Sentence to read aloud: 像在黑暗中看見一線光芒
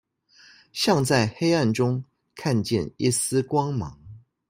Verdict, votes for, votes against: rejected, 0, 2